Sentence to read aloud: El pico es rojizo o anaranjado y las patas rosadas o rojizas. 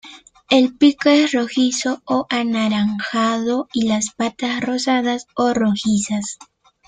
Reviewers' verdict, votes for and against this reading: accepted, 2, 0